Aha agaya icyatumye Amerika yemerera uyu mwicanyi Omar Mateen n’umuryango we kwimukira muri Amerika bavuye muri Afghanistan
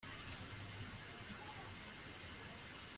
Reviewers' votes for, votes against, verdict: 0, 2, rejected